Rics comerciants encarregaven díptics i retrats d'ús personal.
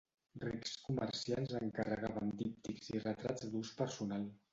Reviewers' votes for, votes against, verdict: 0, 2, rejected